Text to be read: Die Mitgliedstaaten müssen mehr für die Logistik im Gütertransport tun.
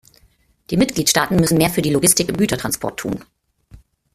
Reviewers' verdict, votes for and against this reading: rejected, 1, 2